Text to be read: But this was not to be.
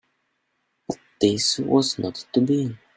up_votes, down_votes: 0, 2